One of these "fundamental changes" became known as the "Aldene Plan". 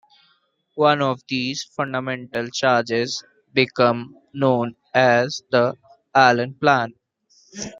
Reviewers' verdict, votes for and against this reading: rejected, 1, 2